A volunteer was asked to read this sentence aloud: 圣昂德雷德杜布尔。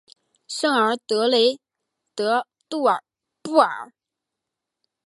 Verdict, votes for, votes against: rejected, 1, 2